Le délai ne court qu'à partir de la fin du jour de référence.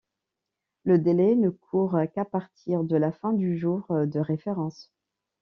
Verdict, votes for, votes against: accepted, 2, 0